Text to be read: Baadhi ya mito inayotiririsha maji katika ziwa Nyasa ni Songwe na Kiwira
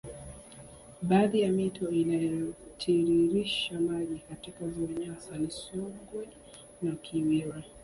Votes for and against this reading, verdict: 2, 1, accepted